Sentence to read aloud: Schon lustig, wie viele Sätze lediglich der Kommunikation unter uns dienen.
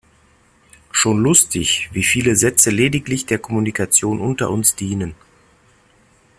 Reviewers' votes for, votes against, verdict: 2, 0, accepted